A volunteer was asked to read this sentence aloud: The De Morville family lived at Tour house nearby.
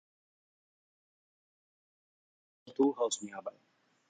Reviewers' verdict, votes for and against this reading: rejected, 0, 2